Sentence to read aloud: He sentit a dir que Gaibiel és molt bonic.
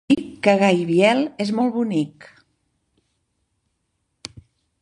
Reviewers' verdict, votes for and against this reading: rejected, 0, 2